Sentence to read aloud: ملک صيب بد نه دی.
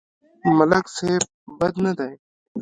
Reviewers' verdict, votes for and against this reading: accepted, 2, 0